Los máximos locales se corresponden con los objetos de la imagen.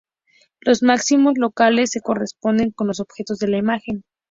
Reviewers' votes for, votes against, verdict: 2, 0, accepted